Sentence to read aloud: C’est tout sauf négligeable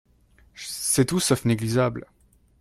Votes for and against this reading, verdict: 0, 2, rejected